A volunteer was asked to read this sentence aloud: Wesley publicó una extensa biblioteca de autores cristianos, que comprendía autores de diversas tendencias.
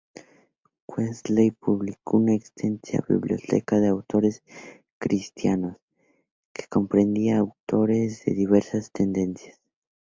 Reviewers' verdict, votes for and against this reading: accepted, 4, 0